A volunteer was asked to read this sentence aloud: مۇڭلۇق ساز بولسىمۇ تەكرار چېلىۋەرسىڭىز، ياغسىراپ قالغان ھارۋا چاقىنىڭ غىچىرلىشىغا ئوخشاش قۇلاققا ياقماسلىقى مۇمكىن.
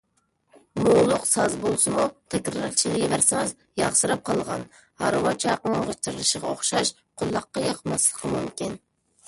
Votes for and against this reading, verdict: 0, 2, rejected